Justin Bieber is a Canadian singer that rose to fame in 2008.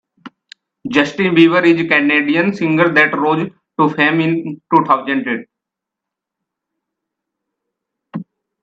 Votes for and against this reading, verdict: 0, 2, rejected